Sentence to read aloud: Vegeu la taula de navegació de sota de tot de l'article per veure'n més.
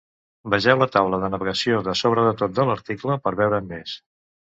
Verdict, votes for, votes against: rejected, 0, 3